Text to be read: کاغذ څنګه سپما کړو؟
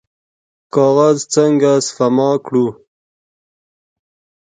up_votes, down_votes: 2, 0